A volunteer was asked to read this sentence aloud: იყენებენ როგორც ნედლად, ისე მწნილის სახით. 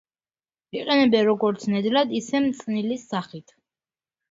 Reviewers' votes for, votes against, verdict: 2, 1, accepted